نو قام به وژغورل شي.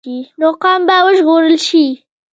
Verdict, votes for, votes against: rejected, 0, 2